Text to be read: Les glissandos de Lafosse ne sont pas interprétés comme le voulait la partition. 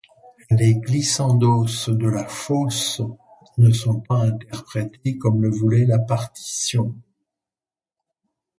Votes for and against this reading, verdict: 2, 0, accepted